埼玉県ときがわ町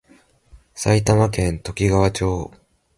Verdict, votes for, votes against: accepted, 2, 0